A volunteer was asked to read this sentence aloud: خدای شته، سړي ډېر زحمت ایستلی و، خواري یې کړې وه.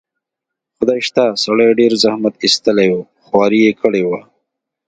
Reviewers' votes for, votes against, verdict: 2, 0, accepted